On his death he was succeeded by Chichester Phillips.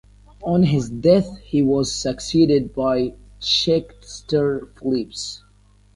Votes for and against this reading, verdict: 1, 2, rejected